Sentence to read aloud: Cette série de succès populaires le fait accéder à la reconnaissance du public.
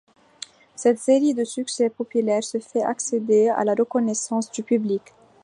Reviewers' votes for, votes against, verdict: 1, 2, rejected